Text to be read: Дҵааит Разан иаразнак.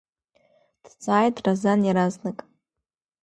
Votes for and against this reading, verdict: 2, 0, accepted